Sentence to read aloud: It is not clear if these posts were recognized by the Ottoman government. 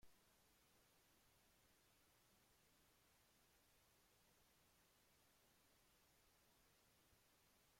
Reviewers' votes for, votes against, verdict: 0, 2, rejected